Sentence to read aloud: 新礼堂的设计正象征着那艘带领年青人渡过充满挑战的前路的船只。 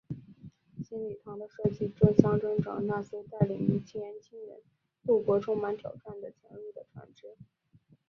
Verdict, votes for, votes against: rejected, 2, 3